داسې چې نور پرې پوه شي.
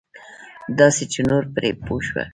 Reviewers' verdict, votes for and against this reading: accepted, 2, 0